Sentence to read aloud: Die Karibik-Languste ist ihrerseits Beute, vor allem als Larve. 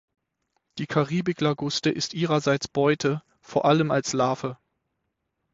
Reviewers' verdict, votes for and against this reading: rejected, 3, 6